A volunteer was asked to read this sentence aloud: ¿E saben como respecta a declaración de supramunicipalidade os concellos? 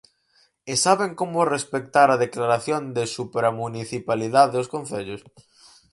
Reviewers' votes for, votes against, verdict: 2, 4, rejected